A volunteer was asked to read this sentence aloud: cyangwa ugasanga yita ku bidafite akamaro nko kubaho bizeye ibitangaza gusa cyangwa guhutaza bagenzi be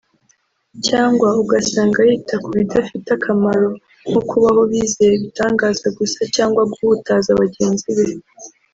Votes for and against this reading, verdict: 1, 2, rejected